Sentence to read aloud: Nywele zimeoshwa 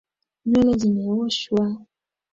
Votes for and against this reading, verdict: 2, 3, rejected